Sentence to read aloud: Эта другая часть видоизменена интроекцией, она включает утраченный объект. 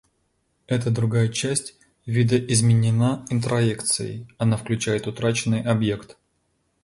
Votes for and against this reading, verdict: 2, 0, accepted